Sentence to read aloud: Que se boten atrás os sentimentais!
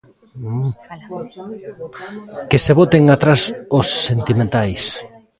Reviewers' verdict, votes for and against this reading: rejected, 0, 2